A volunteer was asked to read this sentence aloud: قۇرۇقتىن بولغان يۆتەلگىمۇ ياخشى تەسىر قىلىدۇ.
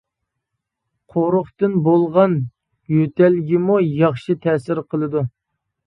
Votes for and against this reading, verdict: 2, 0, accepted